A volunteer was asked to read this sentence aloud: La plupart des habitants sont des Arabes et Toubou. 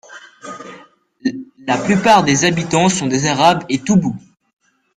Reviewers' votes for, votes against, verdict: 2, 0, accepted